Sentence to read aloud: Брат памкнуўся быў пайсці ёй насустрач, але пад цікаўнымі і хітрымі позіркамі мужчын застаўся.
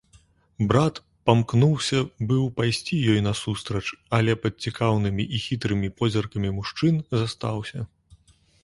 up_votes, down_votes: 2, 0